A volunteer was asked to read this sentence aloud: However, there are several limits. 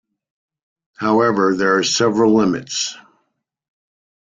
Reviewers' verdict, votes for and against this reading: accepted, 2, 0